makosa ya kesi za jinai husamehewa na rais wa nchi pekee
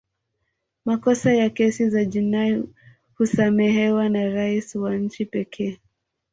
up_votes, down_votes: 2, 1